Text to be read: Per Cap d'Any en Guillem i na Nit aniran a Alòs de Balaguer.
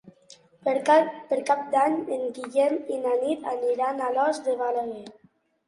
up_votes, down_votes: 0, 2